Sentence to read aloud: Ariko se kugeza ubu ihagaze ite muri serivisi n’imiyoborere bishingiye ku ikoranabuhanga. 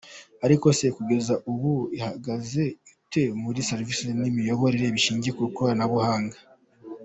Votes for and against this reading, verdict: 2, 0, accepted